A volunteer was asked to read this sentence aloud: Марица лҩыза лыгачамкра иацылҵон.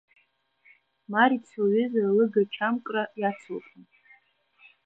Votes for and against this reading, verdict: 1, 2, rejected